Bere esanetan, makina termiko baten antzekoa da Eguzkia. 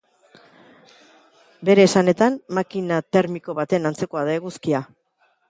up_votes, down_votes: 2, 0